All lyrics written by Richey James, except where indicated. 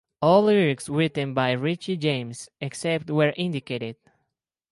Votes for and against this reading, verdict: 2, 0, accepted